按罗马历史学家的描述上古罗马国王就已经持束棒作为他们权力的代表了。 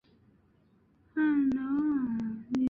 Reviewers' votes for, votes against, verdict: 1, 3, rejected